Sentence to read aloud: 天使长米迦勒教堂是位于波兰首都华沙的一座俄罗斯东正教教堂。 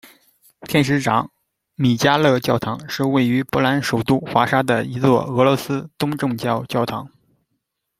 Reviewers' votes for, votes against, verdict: 2, 0, accepted